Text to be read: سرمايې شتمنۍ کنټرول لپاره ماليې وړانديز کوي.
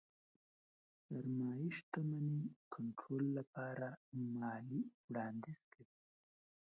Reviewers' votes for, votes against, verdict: 0, 2, rejected